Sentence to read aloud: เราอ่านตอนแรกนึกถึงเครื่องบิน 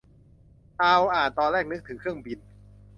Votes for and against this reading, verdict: 1, 2, rejected